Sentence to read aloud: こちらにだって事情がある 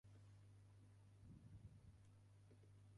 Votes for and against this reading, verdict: 0, 2, rejected